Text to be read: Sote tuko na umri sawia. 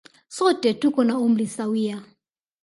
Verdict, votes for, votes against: accepted, 2, 0